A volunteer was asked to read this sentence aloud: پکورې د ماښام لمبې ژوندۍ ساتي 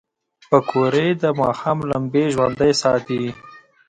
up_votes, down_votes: 1, 2